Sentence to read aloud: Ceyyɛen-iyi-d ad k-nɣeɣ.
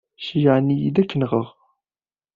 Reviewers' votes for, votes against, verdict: 0, 2, rejected